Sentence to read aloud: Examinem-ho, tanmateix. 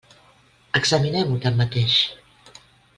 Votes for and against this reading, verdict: 2, 0, accepted